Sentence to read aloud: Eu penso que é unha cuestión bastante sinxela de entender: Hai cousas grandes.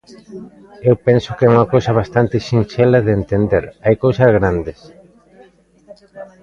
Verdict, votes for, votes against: rejected, 0, 2